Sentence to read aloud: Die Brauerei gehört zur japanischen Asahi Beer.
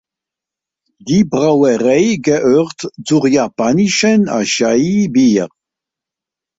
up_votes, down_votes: 0, 2